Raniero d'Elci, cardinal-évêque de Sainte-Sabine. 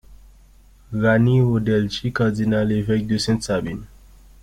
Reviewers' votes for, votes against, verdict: 2, 1, accepted